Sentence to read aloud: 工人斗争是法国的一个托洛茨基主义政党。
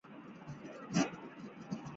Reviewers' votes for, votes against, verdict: 0, 2, rejected